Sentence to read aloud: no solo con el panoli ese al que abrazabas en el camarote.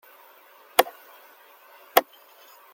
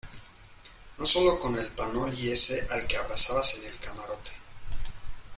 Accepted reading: second